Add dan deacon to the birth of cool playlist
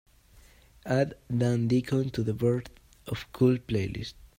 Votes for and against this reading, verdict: 2, 0, accepted